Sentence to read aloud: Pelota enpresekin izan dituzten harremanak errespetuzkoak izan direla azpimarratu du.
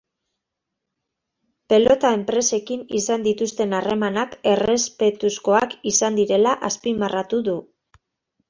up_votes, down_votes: 2, 0